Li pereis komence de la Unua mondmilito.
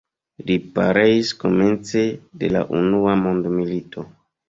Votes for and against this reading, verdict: 1, 2, rejected